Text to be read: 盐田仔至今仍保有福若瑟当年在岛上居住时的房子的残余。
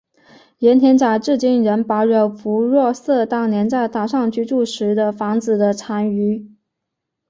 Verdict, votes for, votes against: accepted, 7, 0